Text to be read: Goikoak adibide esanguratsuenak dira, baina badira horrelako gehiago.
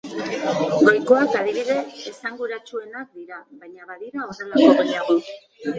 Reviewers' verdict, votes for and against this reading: accepted, 2, 1